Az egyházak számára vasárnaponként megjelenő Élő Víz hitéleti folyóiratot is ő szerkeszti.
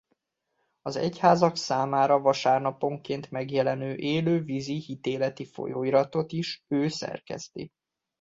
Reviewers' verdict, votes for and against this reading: rejected, 0, 2